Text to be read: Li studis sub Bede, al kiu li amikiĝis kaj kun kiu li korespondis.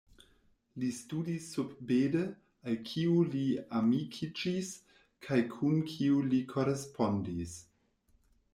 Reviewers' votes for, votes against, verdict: 1, 2, rejected